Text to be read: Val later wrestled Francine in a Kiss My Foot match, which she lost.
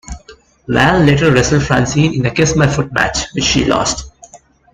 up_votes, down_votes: 2, 1